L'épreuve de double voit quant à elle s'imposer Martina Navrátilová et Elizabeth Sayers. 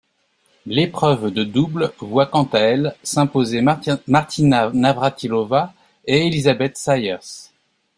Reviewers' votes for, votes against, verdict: 0, 2, rejected